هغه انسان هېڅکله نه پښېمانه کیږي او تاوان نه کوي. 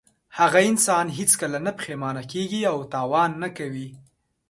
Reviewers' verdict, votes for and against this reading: accepted, 2, 0